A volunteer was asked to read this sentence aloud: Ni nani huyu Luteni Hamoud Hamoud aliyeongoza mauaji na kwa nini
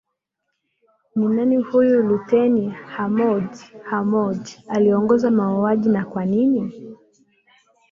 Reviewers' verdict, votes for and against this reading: rejected, 0, 2